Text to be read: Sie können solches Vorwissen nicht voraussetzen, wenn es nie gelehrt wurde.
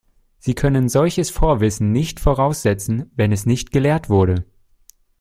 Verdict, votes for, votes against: rejected, 0, 2